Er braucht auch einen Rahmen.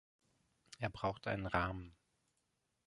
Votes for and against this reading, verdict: 0, 2, rejected